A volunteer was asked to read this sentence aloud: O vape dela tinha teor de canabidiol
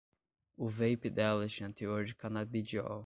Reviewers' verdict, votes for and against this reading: rejected, 5, 5